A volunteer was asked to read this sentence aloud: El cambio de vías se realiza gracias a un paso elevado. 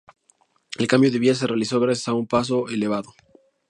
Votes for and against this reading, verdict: 0, 2, rejected